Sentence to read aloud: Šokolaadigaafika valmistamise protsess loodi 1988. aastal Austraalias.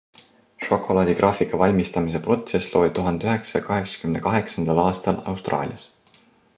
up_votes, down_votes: 0, 2